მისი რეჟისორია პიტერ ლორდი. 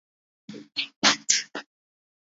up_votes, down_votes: 1, 2